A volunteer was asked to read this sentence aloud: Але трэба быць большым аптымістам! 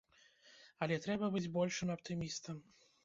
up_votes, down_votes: 1, 2